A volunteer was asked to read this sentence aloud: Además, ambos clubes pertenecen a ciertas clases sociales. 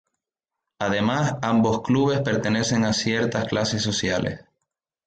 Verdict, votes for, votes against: rejected, 0, 2